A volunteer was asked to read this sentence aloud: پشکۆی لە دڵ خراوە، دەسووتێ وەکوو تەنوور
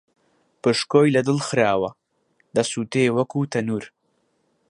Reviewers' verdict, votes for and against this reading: accepted, 2, 0